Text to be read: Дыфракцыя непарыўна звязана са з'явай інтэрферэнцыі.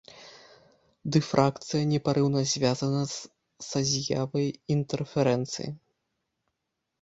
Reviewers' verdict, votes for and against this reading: rejected, 1, 2